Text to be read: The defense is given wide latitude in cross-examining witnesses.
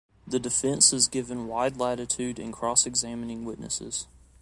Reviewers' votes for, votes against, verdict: 2, 0, accepted